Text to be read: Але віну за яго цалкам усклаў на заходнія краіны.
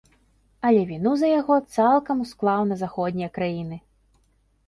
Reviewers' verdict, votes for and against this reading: accepted, 2, 0